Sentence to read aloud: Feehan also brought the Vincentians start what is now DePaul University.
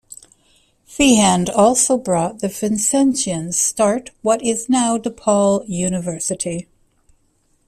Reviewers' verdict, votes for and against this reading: rejected, 1, 2